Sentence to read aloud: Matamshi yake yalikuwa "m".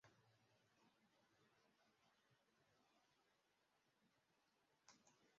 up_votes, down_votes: 0, 2